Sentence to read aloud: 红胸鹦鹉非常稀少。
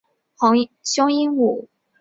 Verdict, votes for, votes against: rejected, 1, 3